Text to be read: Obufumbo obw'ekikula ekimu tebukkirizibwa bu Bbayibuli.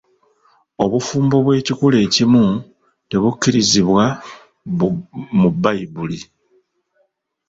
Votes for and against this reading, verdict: 0, 2, rejected